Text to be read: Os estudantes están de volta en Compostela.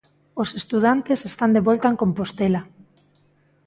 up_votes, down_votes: 2, 0